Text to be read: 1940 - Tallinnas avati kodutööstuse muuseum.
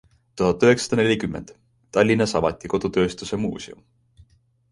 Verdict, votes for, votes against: rejected, 0, 2